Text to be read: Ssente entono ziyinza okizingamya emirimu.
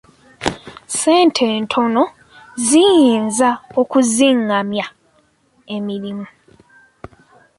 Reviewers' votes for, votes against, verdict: 2, 0, accepted